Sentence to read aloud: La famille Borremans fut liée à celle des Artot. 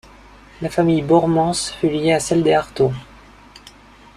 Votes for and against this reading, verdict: 1, 2, rejected